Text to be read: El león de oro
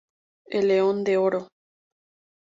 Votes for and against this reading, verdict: 4, 0, accepted